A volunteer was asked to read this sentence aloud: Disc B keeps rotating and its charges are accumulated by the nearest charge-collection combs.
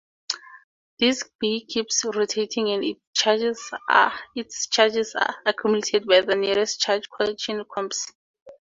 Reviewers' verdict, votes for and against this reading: rejected, 0, 2